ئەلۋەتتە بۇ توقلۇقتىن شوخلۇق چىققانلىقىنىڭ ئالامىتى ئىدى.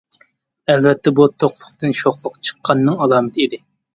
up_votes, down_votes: 2, 1